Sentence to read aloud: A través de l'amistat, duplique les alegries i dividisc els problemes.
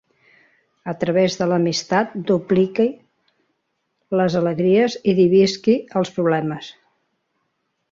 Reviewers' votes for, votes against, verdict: 0, 2, rejected